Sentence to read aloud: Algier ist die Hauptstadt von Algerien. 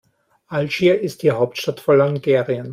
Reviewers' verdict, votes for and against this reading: rejected, 0, 2